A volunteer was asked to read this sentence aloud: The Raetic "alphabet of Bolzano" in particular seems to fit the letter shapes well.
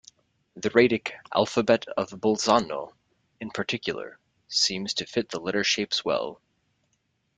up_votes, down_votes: 2, 0